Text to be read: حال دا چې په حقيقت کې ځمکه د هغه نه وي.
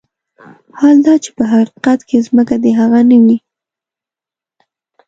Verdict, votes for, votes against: accepted, 2, 1